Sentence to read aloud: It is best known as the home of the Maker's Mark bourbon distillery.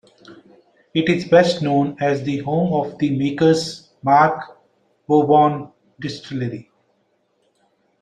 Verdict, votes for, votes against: accepted, 2, 1